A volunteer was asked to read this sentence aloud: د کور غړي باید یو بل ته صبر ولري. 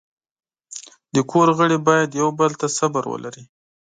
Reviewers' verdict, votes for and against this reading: accepted, 2, 0